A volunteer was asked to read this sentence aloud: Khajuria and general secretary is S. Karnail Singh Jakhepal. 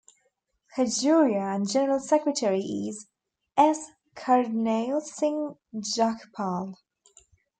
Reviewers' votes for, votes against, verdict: 2, 0, accepted